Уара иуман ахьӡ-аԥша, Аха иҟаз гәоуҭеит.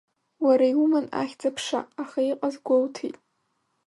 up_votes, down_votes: 0, 2